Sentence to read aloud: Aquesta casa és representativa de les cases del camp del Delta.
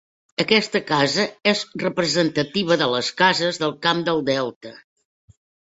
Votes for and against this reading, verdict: 0, 2, rejected